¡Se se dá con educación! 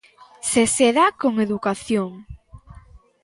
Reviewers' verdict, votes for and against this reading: accepted, 2, 0